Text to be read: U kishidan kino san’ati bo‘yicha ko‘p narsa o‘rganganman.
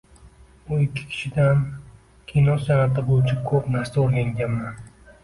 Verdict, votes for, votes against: rejected, 1, 2